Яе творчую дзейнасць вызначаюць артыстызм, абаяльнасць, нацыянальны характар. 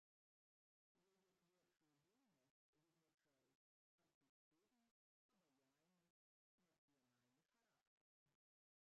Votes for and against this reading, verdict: 0, 2, rejected